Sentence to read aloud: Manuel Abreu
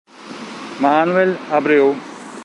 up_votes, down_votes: 1, 2